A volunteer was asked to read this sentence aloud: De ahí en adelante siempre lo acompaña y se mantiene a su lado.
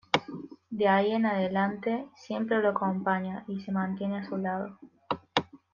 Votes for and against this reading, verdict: 2, 0, accepted